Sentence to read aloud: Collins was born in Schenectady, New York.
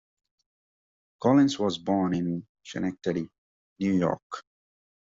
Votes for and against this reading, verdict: 1, 2, rejected